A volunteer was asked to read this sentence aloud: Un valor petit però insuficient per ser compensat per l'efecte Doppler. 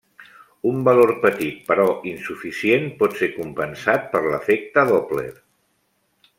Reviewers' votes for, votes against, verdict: 1, 2, rejected